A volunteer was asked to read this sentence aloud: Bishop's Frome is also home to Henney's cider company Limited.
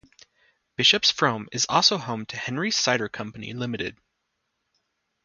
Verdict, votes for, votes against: rejected, 0, 2